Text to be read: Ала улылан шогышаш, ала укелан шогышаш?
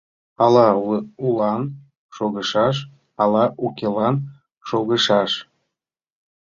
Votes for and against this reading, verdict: 0, 2, rejected